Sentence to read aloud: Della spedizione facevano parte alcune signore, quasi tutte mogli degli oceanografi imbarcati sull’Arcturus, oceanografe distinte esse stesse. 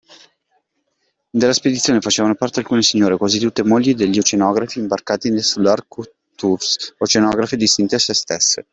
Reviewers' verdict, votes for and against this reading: rejected, 0, 2